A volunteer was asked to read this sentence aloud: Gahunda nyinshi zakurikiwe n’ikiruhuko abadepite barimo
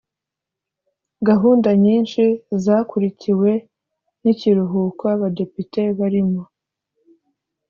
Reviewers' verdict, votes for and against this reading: accepted, 2, 0